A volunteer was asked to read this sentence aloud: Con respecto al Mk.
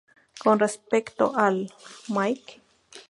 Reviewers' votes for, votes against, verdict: 0, 2, rejected